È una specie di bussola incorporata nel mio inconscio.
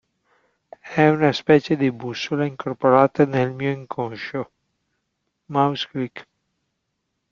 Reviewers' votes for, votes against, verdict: 0, 3, rejected